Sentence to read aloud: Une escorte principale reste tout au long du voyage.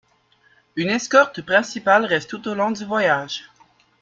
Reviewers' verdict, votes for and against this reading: rejected, 1, 2